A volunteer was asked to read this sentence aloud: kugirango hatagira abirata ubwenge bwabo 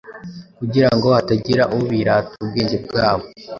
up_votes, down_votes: 0, 2